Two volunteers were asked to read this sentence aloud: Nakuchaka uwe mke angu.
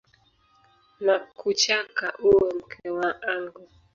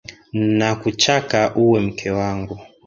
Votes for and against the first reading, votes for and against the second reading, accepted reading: 0, 2, 2, 1, second